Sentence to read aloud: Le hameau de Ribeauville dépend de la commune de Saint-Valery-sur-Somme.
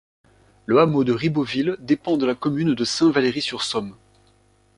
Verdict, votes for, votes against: accepted, 2, 0